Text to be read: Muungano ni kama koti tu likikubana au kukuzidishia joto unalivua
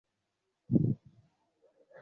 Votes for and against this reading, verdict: 0, 3, rejected